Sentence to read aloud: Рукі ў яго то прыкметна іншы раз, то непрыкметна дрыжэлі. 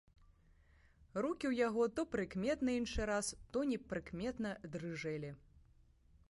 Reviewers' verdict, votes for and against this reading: accepted, 2, 0